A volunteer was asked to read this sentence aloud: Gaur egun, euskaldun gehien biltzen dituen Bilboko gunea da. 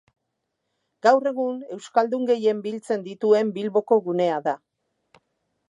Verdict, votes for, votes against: accepted, 4, 0